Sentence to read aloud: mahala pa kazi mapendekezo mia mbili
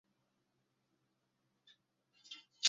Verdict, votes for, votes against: rejected, 0, 2